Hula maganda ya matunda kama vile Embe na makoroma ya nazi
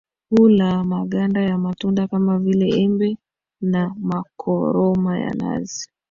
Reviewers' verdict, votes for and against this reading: accepted, 2, 1